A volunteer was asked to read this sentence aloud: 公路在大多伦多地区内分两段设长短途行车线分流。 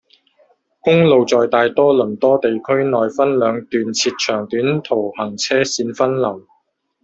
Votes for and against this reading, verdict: 0, 2, rejected